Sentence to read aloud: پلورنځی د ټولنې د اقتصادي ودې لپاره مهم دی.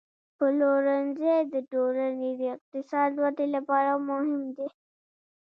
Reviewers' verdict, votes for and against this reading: rejected, 0, 2